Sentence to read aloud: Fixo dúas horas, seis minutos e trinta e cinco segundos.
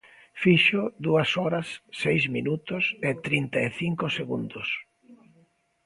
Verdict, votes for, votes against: accepted, 2, 0